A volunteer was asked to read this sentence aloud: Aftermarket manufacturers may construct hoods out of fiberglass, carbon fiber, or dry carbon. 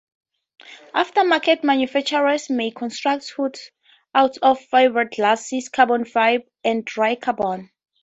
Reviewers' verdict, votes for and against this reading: accepted, 2, 0